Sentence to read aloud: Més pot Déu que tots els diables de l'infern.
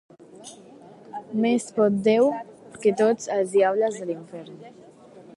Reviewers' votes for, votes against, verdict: 1, 2, rejected